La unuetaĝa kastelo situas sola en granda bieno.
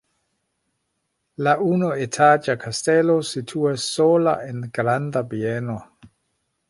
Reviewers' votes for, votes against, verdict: 0, 2, rejected